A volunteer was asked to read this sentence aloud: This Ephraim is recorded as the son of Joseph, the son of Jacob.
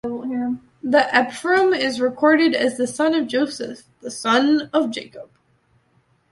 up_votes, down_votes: 1, 2